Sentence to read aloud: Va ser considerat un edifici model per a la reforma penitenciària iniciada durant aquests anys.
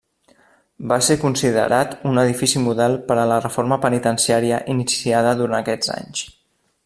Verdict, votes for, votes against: rejected, 1, 2